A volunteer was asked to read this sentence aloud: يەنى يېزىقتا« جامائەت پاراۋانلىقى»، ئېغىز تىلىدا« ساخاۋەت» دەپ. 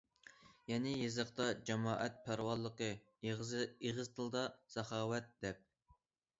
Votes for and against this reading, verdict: 0, 2, rejected